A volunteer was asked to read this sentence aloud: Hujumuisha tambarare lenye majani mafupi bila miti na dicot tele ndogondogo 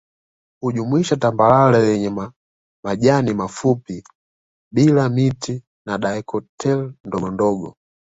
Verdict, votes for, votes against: accepted, 2, 0